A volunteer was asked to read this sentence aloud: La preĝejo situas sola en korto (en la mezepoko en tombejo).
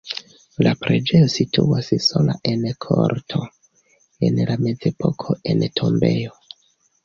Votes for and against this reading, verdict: 2, 0, accepted